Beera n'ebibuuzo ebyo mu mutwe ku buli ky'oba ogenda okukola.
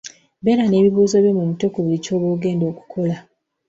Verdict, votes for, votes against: accepted, 2, 0